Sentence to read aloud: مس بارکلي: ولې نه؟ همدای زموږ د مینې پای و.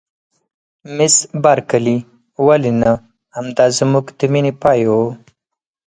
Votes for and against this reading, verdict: 4, 0, accepted